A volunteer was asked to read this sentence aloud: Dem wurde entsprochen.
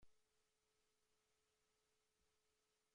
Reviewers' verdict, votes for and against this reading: rejected, 0, 2